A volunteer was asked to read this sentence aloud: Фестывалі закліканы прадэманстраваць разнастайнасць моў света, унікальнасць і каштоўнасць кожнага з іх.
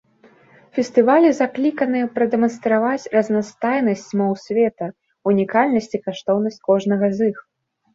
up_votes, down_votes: 2, 0